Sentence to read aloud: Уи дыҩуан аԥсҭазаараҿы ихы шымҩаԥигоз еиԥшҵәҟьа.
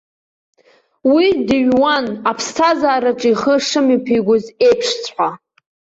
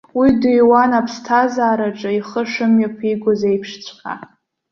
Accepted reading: second